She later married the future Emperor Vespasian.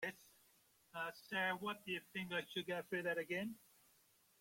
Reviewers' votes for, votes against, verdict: 0, 2, rejected